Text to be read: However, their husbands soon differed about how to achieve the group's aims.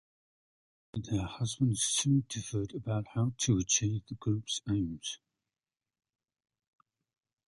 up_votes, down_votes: 0, 2